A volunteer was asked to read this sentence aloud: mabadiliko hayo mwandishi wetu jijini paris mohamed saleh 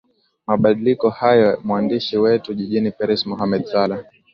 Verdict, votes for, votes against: accepted, 2, 0